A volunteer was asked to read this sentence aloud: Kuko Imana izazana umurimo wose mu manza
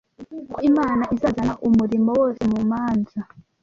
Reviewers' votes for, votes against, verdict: 1, 2, rejected